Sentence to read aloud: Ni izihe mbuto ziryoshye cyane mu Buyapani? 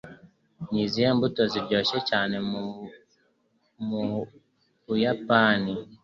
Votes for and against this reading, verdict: 0, 2, rejected